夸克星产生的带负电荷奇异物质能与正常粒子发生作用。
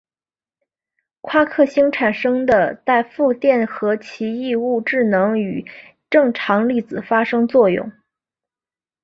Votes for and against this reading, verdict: 3, 0, accepted